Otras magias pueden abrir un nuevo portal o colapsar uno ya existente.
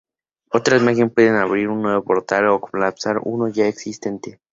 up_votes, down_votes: 2, 2